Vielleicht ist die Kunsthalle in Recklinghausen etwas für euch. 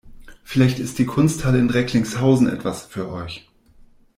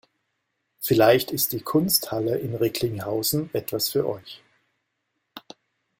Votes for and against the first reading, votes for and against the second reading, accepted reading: 1, 2, 2, 0, second